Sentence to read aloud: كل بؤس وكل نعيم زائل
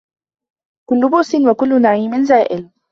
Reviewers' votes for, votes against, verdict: 2, 0, accepted